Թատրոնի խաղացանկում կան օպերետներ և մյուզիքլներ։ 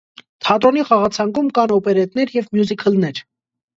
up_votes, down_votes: 2, 0